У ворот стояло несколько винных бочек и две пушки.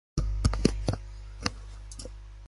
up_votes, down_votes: 0, 2